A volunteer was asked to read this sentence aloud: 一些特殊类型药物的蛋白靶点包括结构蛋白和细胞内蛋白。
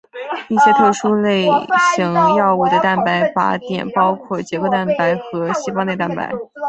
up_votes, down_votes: 1, 2